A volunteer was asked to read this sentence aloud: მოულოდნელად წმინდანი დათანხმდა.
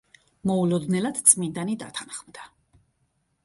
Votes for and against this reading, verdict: 2, 0, accepted